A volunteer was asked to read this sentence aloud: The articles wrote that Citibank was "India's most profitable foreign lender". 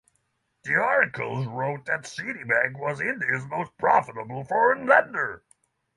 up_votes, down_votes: 6, 0